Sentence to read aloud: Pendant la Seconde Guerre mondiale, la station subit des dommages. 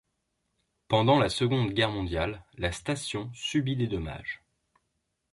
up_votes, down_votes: 2, 0